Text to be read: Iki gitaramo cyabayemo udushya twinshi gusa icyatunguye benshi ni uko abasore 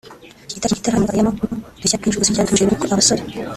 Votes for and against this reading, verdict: 0, 2, rejected